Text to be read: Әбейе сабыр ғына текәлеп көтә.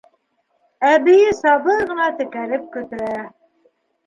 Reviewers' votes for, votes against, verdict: 2, 0, accepted